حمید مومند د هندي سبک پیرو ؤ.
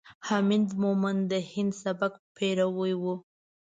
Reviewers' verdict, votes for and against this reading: rejected, 0, 2